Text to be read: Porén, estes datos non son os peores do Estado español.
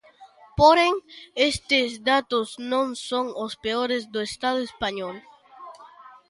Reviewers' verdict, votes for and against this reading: rejected, 0, 2